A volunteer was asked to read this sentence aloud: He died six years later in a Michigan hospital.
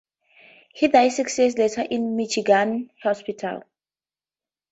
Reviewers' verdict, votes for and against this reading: rejected, 0, 2